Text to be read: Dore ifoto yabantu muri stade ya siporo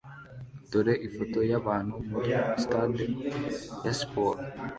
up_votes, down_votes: 2, 1